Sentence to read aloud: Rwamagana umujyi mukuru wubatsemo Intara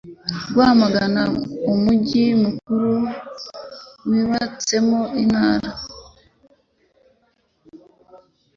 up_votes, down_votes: 2, 1